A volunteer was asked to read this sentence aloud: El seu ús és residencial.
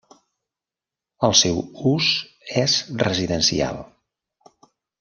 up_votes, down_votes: 3, 0